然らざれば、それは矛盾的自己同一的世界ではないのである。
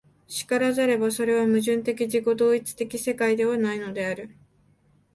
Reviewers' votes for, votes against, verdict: 3, 0, accepted